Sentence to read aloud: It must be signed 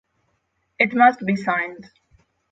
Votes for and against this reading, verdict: 6, 0, accepted